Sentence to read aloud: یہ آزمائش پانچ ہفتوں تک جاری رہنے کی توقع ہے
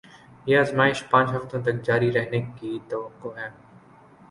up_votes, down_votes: 2, 0